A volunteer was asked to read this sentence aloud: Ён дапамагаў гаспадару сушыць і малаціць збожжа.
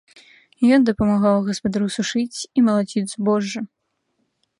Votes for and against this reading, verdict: 2, 0, accepted